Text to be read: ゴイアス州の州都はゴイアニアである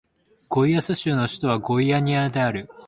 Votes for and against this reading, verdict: 2, 0, accepted